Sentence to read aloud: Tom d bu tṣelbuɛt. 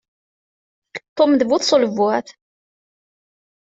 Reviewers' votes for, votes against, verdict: 2, 0, accepted